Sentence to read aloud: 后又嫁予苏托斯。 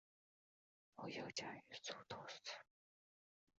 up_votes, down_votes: 0, 3